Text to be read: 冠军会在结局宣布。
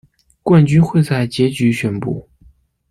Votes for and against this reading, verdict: 2, 0, accepted